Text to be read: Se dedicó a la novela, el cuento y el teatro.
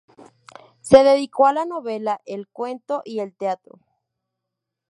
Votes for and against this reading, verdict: 2, 0, accepted